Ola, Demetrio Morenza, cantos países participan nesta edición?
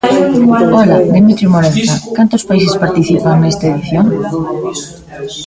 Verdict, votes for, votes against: rejected, 1, 3